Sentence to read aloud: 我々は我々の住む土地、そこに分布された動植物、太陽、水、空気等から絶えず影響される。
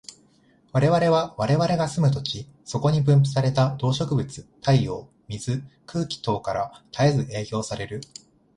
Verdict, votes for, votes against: accepted, 2, 0